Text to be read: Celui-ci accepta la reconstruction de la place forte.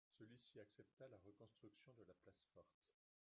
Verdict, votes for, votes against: rejected, 0, 2